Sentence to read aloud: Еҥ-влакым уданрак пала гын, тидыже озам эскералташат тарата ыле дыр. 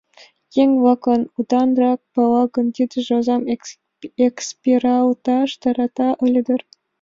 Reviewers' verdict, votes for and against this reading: rejected, 1, 2